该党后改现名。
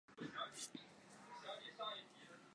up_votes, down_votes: 0, 2